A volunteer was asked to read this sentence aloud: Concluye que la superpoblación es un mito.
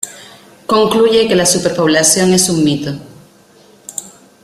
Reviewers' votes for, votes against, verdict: 2, 0, accepted